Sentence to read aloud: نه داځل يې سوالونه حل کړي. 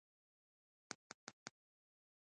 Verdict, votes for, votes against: rejected, 1, 2